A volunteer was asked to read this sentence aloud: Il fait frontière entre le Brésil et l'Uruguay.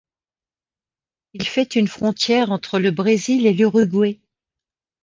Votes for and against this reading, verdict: 1, 2, rejected